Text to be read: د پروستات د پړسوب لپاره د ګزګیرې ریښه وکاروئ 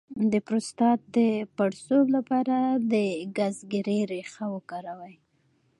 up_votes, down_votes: 2, 0